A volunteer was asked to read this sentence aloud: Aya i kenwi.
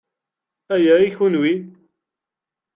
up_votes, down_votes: 1, 2